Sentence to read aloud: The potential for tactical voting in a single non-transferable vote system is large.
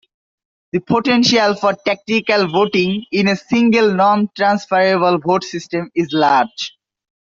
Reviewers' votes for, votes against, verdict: 2, 0, accepted